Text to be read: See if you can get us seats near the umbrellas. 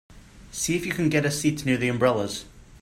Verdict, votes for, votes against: accepted, 3, 0